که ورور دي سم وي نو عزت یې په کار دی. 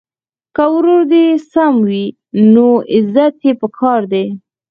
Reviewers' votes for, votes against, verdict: 4, 0, accepted